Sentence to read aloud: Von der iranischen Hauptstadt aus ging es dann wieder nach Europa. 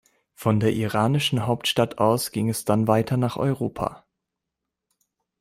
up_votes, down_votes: 0, 2